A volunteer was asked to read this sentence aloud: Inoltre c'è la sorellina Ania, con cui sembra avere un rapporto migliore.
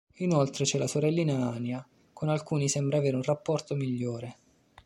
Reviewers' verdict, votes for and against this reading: rejected, 1, 2